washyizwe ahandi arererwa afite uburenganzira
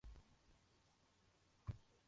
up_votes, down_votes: 0, 2